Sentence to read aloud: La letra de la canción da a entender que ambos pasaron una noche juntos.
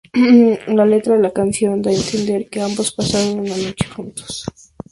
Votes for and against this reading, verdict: 2, 0, accepted